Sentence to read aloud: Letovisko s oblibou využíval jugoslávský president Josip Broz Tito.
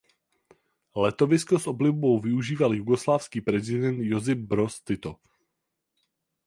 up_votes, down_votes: 4, 0